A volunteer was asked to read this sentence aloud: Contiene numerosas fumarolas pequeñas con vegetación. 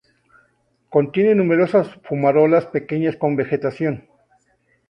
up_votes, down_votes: 2, 0